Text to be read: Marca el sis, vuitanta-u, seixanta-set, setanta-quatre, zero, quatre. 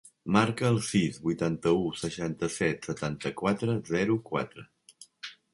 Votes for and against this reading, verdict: 3, 0, accepted